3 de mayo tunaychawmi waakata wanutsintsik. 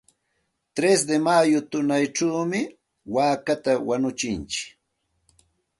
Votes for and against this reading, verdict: 0, 2, rejected